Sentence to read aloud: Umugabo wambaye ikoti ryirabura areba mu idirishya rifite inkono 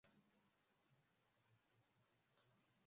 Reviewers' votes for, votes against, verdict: 0, 2, rejected